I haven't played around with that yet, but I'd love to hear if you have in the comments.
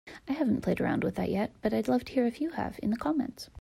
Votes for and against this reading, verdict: 2, 0, accepted